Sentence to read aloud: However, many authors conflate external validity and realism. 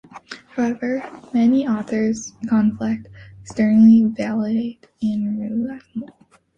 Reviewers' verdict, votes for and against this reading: rejected, 0, 2